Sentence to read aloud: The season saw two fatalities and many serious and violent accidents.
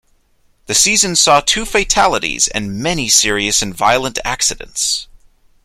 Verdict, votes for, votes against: accepted, 2, 0